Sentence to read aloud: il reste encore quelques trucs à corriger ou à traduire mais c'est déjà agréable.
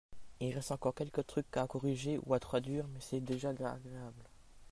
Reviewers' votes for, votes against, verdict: 0, 2, rejected